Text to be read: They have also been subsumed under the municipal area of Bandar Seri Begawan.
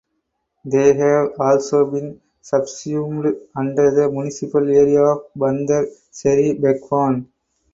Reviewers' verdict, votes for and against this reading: accepted, 4, 2